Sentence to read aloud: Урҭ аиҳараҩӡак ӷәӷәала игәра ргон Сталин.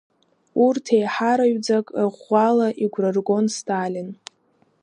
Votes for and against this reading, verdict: 2, 0, accepted